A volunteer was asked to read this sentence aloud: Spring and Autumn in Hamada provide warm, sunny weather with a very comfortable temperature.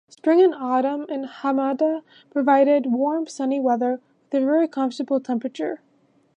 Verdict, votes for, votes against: rejected, 1, 2